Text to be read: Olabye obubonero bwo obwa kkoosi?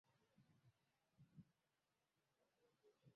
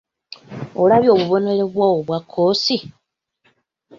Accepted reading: second